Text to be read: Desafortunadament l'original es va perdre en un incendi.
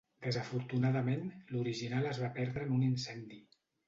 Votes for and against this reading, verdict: 2, 0, accepted